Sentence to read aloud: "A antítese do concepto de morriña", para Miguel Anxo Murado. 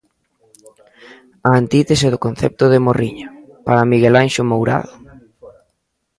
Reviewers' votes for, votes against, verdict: 0, 2, rejected